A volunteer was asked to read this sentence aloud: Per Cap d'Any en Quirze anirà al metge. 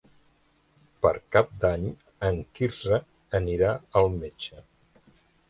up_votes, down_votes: 2, 0